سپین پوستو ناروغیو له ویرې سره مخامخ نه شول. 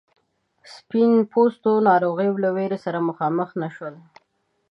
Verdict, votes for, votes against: accepted, 7, 0